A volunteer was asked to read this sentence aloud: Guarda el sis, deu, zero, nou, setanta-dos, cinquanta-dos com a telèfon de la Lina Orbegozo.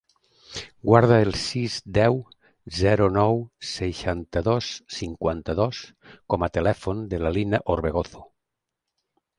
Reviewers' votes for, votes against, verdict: 0, 2, rejected